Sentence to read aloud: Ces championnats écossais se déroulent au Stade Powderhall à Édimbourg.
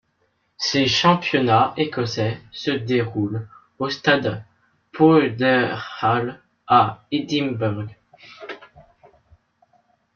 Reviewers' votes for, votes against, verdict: 0, 2, rejected